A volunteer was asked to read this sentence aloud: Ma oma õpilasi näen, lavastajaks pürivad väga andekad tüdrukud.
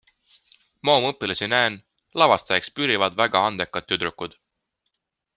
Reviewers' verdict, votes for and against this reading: accepted, 2, 0